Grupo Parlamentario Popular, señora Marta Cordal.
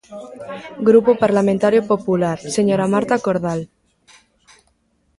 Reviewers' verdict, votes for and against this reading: rejected, 1, 2